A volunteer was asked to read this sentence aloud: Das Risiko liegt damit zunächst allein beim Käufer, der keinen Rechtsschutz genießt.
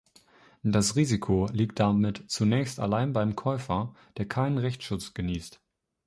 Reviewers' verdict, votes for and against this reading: accepted, 2, 0